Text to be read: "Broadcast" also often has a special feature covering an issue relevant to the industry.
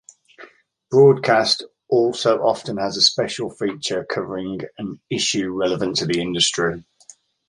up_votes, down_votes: 3, 0